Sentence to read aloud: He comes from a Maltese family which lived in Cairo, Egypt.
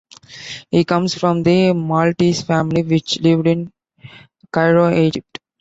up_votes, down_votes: 1, 2